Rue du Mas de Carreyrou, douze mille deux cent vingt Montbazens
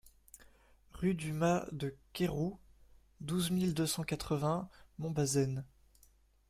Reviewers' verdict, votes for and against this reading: rejected, 1, 2